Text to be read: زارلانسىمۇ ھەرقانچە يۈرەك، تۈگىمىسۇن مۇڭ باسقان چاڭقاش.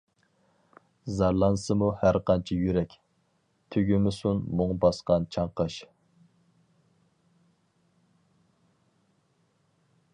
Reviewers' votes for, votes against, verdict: 4, 0, accepted